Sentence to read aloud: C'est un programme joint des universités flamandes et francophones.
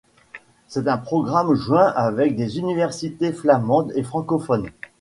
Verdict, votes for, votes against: rejected, 1, 2